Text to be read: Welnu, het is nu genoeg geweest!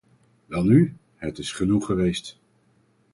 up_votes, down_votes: 0, 4